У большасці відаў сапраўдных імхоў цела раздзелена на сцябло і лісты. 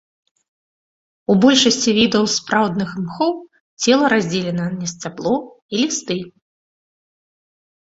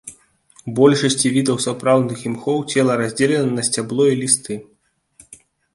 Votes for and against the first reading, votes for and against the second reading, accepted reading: 0, 2, 2, 0, second